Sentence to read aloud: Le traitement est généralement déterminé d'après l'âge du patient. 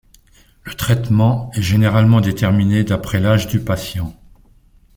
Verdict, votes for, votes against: accepted, 2, 0